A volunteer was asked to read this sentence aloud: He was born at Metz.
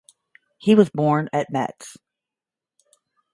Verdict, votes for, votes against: accepted, 5, 0